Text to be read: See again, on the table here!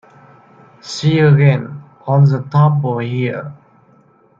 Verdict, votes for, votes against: rejected, 0, 2